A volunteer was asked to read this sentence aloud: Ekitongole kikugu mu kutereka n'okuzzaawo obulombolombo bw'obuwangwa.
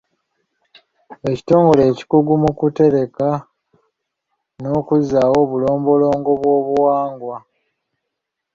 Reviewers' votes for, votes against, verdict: 2, 0, accepted